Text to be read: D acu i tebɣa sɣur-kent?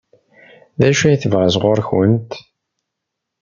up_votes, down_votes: 2, 0